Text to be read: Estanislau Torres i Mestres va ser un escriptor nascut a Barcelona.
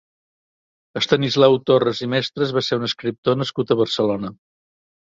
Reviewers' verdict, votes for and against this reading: accepted, 3, 0